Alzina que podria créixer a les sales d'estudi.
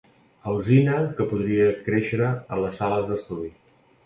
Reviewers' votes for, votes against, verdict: 2, 2, rejected